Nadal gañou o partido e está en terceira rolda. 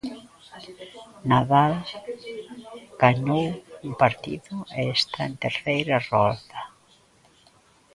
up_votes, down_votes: 0, 2